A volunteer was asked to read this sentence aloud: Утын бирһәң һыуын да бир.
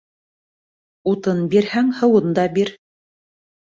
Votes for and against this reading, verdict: 3, 0, accepted